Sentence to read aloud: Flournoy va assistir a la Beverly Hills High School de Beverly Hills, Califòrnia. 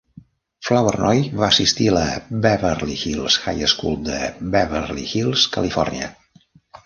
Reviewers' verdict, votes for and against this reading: accepted, 2, 0